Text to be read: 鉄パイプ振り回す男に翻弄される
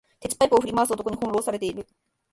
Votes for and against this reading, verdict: 1, 2, rejected